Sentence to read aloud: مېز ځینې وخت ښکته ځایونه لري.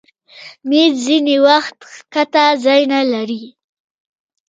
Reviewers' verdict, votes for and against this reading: rejected, 1, 2